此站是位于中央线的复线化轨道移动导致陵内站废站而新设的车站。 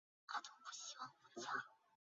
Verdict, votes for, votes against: rejected, 0, 4